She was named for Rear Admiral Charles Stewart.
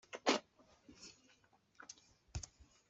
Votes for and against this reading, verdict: 1, 2, rejected